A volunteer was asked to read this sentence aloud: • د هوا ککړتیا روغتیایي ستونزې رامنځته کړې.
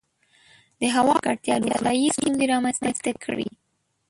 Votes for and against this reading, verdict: 0, 2, rejected